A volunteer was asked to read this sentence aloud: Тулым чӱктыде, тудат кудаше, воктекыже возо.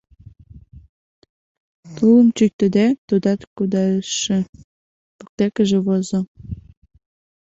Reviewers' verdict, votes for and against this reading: rejected, 1, 2